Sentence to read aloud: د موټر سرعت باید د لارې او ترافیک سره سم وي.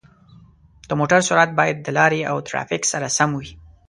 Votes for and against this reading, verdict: 2, 0, accepted